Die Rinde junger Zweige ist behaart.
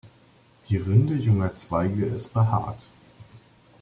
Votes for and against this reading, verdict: 2, 0, accepted